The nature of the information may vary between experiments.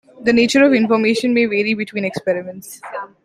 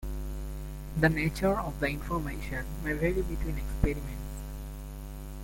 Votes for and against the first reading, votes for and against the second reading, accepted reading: 0, 2, 2, 1, second